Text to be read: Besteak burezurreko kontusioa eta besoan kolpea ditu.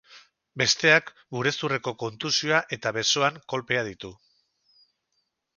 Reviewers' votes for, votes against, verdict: 2, 0, accepted